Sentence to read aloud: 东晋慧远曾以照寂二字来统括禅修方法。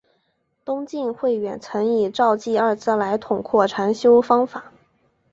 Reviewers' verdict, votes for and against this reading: accepted, 2, 0